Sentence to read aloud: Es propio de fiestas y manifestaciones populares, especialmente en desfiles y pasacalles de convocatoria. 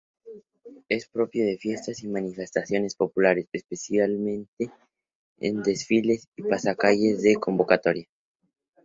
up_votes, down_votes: 0, 2